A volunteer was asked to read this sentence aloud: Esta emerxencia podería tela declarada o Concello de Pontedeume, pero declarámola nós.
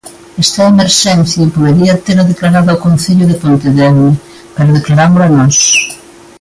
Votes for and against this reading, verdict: 2, 0, accepted